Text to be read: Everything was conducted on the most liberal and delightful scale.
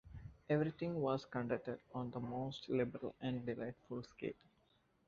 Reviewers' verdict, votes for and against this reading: rejected, 0, 2